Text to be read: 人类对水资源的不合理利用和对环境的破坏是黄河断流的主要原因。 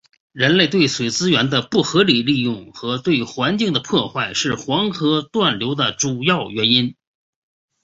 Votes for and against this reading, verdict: 2, 0, accepted